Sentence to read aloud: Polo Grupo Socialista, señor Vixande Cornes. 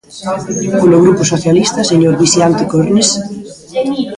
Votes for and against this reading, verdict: 0, 3, rejected